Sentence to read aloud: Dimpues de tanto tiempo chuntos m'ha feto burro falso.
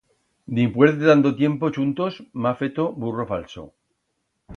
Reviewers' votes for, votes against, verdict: 2, 0, accepted